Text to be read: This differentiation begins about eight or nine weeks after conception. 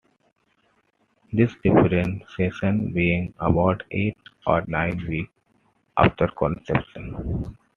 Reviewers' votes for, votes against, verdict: 1, 2, rejected